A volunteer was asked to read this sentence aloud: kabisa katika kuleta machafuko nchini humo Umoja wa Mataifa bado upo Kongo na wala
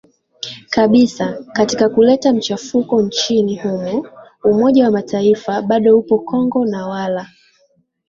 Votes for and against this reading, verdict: 4, 3, accepted